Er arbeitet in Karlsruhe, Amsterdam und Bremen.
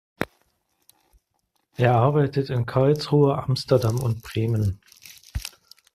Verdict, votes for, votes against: rejected, 1, 2